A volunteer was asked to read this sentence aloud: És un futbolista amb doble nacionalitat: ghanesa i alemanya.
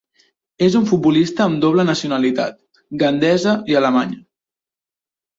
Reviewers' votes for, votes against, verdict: 1, 2, rejected